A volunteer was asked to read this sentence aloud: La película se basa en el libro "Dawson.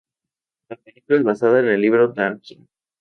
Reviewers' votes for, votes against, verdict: 0, 2, rejected